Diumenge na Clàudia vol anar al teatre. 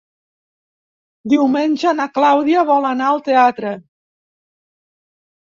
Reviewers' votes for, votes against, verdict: 3, 0, accepted